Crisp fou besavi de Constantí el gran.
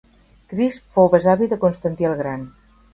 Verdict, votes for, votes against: accepted, 4, 0